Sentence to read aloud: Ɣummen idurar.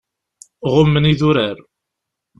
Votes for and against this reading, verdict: 2, 0, accepted